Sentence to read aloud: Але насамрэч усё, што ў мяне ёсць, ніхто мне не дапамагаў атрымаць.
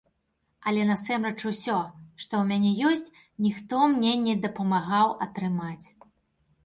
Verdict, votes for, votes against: rejected, 1, 2